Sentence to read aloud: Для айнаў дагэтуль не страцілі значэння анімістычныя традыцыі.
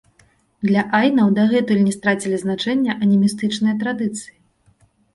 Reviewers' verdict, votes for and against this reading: accepted, 2, 0